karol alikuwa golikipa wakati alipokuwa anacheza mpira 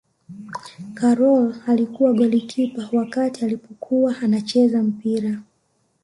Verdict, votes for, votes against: rejected, 1, 2